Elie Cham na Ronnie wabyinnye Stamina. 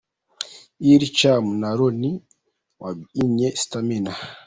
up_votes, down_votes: 2, 1